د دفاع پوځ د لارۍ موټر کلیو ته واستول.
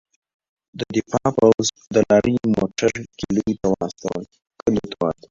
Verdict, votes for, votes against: rejected, 1, 2